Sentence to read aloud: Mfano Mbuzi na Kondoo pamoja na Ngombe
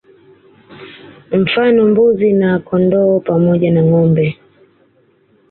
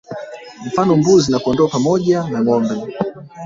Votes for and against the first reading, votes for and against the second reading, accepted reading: 2, 0, 1, 2, first